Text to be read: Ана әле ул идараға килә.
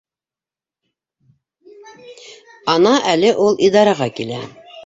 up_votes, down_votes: 1, 2